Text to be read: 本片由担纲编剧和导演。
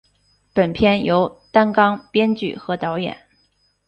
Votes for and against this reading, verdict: 4, 0, accepted